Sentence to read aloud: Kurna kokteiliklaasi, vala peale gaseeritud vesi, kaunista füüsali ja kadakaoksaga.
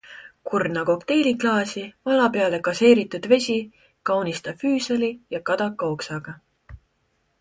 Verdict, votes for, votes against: accepted, 2, 0